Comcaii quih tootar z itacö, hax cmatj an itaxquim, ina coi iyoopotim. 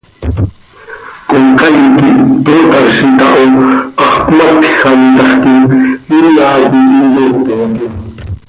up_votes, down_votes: 1, 2